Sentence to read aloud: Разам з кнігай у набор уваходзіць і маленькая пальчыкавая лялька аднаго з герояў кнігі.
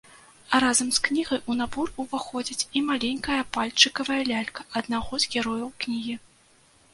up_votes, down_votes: 1, 2